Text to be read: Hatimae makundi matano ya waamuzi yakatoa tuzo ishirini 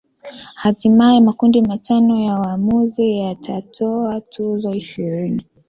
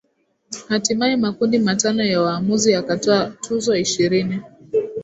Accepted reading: second